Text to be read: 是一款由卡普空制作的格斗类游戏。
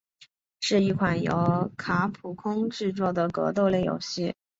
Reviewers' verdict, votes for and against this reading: accepted, 2, 0